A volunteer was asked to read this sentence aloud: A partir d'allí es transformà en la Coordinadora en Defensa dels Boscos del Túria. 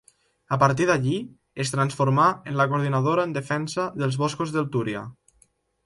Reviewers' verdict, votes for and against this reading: accepted, 2, 0